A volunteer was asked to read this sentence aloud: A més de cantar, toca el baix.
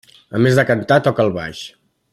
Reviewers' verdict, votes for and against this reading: accepted, 3, 0